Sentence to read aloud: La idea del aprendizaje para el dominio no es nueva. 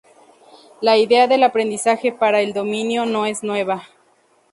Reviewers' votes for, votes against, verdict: 2, 0, accepted